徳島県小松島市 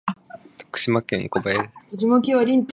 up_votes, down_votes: 1, 2